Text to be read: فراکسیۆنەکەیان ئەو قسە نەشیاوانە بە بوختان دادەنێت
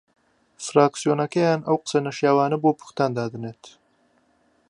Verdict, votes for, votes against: rejected, 0, 2